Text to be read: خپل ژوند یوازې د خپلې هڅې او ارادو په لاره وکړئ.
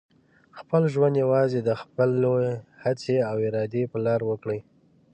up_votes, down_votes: 1, 2